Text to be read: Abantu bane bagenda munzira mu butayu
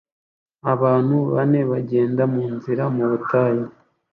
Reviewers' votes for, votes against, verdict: 2, 0, accepted